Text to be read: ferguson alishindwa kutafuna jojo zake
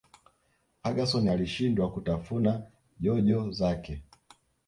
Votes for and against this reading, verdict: 1, 2, rejected